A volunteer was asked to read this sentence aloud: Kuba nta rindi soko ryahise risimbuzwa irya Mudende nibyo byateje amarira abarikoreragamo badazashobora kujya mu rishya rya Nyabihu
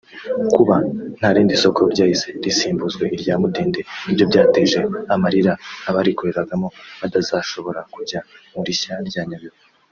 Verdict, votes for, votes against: accepted, 2, 1